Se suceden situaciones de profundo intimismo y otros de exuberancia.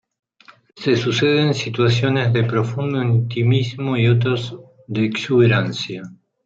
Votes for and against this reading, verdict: 2, 0, accepted